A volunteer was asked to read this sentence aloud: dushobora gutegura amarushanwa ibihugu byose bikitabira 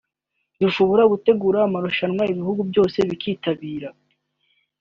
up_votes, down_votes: 3, 0